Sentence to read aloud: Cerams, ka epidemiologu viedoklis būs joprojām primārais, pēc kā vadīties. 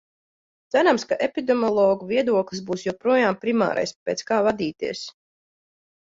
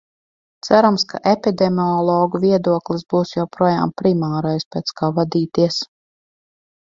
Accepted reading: first